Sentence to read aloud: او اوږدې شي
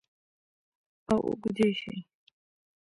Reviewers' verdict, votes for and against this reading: rejected, 1, 2